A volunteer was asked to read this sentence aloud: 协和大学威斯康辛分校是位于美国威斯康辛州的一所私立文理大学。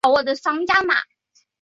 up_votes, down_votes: 0, 2